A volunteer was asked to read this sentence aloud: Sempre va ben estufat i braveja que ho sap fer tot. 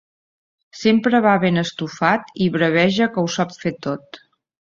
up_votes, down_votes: 2, 0